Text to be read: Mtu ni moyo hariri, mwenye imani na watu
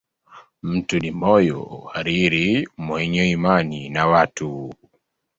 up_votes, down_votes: 3, 1